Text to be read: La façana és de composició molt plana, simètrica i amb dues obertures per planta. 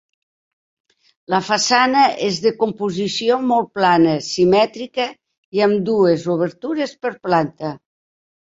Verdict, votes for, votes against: accepted, 3, 0